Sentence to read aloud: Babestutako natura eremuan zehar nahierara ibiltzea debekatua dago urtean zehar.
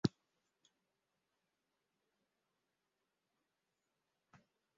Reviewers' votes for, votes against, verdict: 0, 2, rejected